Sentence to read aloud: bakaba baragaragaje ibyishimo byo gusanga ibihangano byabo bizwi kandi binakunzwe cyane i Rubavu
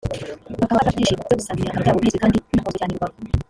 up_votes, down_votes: 0, 2